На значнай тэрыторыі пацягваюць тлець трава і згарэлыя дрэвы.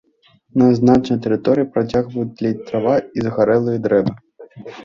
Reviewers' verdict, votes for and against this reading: accepted, 2, 0